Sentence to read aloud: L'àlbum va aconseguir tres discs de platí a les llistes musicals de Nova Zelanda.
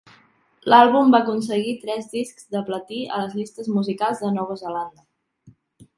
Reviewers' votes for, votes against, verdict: 2, 0, accepted